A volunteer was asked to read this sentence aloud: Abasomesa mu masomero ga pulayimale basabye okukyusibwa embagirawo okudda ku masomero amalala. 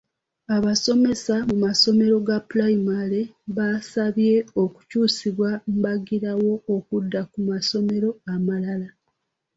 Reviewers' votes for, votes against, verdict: 0, 2, rejected